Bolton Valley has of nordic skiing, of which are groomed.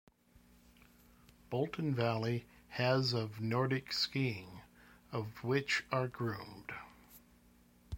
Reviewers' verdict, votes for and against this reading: accepted, 2, 1